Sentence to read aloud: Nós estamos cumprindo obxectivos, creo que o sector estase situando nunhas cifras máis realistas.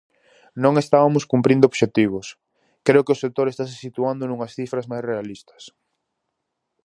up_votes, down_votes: 0, 4